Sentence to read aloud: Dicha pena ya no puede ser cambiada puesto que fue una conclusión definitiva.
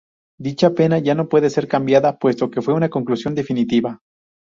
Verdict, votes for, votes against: accepted, 2, 0